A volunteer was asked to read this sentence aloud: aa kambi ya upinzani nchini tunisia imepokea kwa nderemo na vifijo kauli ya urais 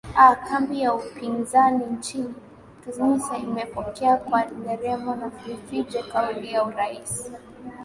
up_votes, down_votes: 2, 2